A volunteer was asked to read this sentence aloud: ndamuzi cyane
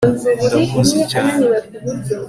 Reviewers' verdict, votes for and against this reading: accepted, 2, 0